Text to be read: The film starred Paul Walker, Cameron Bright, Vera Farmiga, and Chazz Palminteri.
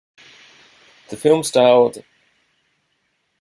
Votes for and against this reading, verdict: 0, 2, rejected